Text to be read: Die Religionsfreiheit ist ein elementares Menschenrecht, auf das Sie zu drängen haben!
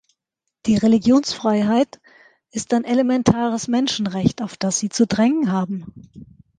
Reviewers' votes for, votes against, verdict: 3, 0, accepted